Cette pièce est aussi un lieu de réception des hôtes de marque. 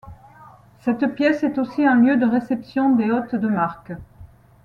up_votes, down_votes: 2, 0